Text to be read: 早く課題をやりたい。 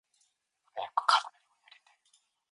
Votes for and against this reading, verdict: 0, 2, rejected